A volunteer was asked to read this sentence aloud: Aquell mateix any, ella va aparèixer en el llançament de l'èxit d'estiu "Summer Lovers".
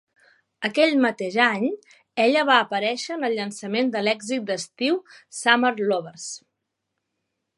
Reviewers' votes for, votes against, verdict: 3, 0, accepted